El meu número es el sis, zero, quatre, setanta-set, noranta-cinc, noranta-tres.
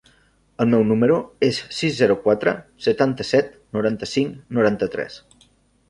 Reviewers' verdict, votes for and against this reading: rejected, 0, 2